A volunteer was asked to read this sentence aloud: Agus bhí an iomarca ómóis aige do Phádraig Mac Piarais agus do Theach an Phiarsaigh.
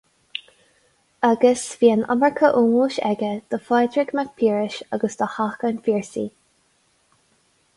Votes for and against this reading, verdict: 4, 0, accepted